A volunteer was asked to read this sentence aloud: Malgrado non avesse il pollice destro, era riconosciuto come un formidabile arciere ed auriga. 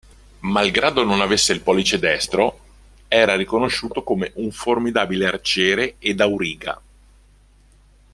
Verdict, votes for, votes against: accepted, 2, 0